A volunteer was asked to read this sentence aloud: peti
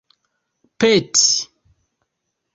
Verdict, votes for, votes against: rejected, 1, 2